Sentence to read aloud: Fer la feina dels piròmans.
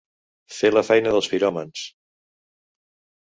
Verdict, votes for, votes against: accepted, 2, 0